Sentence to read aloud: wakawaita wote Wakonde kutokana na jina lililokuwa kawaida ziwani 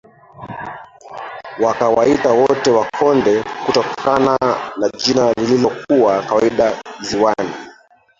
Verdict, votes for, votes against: accepted, 2, 0